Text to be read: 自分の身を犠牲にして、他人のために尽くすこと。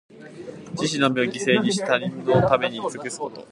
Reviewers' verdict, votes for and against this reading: accepted, 3, 0